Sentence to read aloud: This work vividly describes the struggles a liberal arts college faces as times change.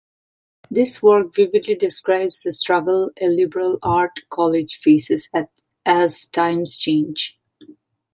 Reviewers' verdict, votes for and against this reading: rejected, 1, 2